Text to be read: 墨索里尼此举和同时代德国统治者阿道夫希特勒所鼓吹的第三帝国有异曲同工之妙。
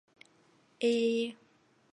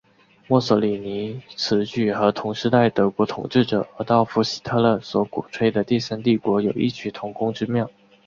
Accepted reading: second